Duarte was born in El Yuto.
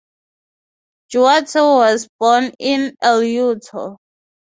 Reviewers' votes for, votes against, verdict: 3, 0, accepted